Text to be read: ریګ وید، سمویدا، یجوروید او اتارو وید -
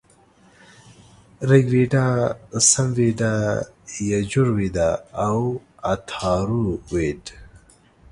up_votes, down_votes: 2, 0